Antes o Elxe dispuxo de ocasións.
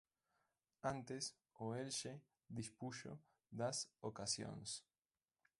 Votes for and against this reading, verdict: 0, 2, rejected